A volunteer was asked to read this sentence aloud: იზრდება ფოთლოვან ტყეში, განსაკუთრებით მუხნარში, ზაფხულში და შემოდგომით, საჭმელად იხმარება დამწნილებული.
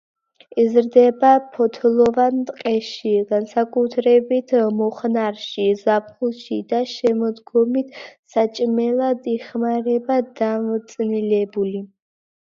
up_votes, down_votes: 1, 2